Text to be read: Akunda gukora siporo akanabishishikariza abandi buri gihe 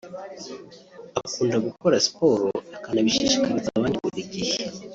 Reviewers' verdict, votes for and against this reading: accepted, 2, 0